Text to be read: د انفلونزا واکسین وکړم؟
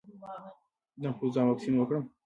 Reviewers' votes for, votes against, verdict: 3, 0, accepted